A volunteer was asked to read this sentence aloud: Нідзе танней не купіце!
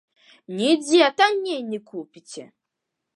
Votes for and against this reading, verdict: 2, 0, accepted